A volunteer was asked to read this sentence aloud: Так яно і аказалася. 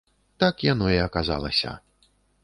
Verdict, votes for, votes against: accepted, 3, 0